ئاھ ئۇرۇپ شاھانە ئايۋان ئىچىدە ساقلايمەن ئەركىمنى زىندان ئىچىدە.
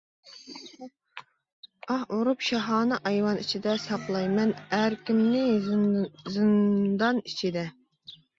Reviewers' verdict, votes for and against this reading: rejected, 0, 2